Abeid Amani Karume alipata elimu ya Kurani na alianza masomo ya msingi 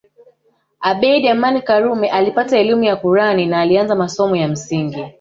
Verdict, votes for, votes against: rejected, 0, 2